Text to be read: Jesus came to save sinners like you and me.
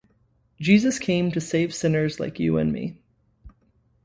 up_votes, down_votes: 2, 0